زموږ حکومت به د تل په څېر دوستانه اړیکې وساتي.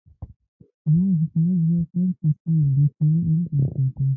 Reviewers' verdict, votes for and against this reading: rejected, 0, 2